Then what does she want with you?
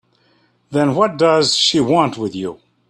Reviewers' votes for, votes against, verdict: 3, 0, accepted